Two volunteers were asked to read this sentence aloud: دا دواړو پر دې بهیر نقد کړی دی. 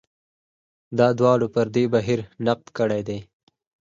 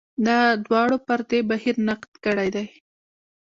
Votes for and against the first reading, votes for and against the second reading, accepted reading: 4, 0, 1, 2, first